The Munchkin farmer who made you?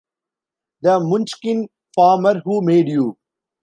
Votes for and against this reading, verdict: 2, 0, accepted